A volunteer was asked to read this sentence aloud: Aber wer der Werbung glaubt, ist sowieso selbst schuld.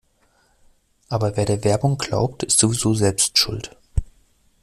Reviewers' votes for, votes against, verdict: 2, 0, accepted